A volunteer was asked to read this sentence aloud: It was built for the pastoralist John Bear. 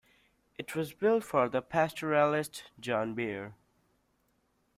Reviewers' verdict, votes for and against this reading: accepted, 2, 0